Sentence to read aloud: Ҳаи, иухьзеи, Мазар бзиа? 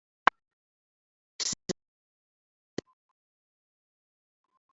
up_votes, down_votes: 0, 2